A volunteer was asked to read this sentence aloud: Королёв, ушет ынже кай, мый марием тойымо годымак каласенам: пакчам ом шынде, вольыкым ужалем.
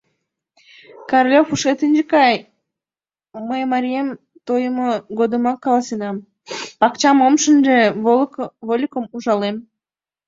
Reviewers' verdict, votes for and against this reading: rejected, 0, 2